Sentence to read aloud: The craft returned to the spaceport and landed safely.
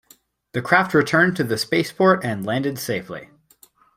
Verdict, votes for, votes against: accepted, 2, 0